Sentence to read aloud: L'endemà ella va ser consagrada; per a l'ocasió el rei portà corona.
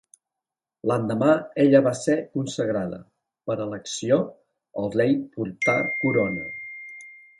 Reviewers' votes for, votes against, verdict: 0, 3, rejected